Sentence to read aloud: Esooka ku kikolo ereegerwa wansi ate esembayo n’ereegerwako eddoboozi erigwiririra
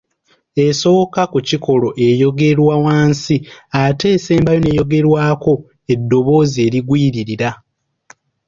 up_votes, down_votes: 0, 2